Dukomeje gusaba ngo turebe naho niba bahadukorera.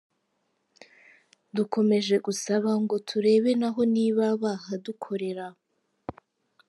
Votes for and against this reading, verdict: 2, 1, accepted